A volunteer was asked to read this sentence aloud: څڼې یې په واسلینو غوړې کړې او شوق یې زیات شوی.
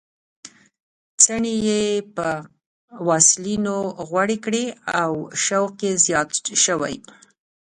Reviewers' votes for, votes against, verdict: 2, 1, accepted